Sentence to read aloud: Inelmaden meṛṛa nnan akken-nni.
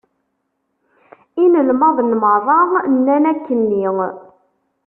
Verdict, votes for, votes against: rejected, 1, 2